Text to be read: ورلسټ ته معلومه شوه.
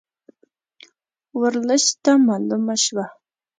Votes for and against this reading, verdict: 2, 0, accepted